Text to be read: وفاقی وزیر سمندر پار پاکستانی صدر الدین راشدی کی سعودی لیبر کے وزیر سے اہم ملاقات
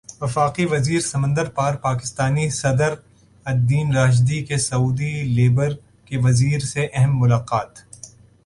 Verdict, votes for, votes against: accepted, 2, 1